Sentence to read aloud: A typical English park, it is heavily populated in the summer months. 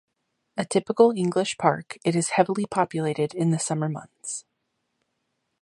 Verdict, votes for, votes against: accepted, 2, 0